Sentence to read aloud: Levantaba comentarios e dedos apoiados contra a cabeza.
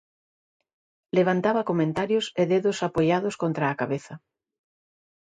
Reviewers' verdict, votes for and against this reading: accepted, 2, 1